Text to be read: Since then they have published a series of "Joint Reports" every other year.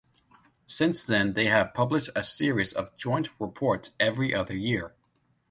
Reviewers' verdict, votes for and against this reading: accepted, 2, 0